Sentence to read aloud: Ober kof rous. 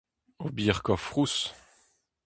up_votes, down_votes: 0, 2